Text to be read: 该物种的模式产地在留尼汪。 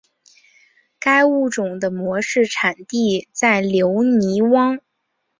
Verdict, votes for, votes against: accepted, 3, 0